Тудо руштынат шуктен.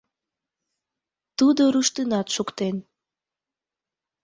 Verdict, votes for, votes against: accepted, 2, 0